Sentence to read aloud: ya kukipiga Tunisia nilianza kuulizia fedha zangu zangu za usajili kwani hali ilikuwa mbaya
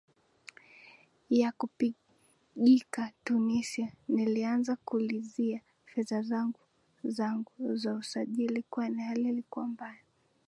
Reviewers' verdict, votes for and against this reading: rejected, 0, 2